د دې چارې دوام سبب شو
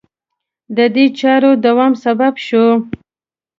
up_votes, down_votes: 2, 0